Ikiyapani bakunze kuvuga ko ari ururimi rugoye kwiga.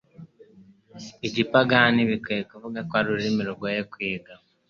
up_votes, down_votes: 0, 2